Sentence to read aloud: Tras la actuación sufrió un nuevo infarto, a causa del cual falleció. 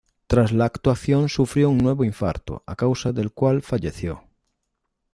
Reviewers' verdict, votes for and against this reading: accepted, 2, 0